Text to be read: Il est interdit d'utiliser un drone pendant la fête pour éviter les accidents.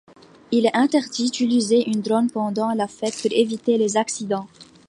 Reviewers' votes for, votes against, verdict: 2, 0, accepted